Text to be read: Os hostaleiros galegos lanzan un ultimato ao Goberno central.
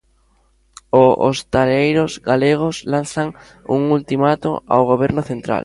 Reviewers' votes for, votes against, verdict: 0, 2, rejected